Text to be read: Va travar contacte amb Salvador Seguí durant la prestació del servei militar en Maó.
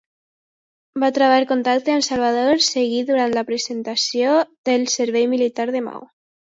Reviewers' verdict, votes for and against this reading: rejected, 0, 2